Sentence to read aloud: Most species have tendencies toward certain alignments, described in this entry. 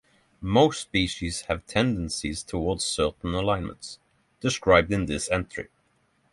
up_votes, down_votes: 6, 0